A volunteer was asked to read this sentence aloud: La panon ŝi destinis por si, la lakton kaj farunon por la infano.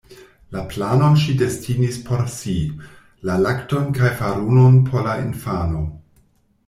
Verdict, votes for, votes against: rejected, 1, 2